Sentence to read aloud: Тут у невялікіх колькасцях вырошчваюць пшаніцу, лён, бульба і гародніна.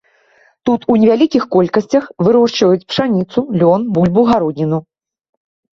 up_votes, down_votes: 2, 1